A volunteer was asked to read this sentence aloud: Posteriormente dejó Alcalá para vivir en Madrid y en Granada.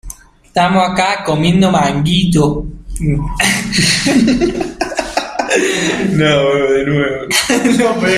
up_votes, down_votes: 0, 2